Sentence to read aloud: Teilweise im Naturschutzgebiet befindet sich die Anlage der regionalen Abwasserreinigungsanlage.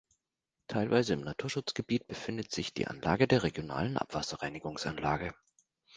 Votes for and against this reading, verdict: 2, 0, accepted